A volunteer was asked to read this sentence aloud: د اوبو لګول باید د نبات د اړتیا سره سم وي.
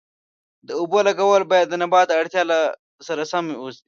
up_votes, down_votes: 1, 2